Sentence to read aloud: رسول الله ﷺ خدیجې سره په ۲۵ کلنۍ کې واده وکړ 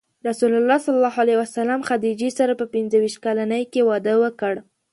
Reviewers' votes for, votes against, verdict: 0, 2, rejected